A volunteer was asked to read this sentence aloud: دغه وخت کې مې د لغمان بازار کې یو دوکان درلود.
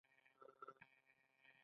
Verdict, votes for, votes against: rejected, 1, 2